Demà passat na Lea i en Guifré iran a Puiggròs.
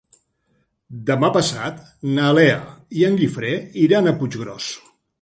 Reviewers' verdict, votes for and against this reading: accepted, 7, 0